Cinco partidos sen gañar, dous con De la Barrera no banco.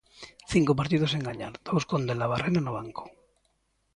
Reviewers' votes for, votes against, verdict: 2, 0, accepted